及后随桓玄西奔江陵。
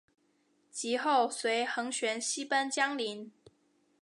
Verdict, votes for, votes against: accepted, 9, 1